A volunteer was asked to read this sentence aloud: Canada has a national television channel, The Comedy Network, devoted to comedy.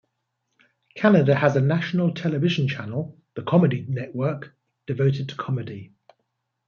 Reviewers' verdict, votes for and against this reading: accepted, 2, 1